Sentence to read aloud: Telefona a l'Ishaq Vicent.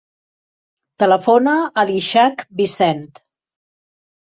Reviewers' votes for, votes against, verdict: 2, 0, accepted